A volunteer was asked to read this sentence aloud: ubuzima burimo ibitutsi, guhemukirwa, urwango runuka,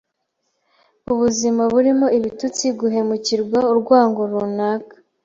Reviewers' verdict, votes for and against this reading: rejected, 0, 2